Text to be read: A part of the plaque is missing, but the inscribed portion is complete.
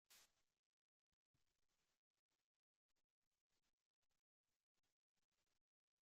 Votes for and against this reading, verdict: 0, 2, rejected